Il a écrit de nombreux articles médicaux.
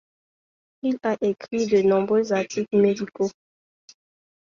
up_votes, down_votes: 2, 0